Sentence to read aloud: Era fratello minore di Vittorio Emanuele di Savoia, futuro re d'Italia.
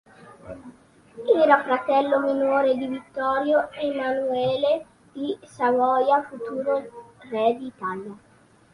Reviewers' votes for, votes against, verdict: 3, 0, accepted